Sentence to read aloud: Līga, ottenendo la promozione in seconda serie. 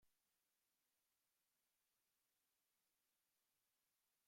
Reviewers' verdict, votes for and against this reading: rejected, 0, 3